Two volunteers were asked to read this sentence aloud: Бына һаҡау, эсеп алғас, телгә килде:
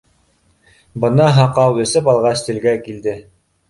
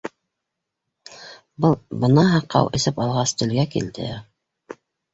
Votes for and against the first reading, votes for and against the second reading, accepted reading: 3, 0, 1, 2, first